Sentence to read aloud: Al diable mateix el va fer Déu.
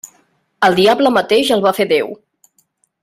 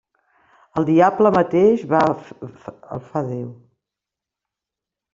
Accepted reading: first